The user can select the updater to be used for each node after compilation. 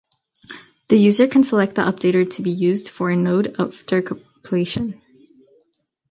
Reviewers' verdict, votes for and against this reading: rejected, 0, 2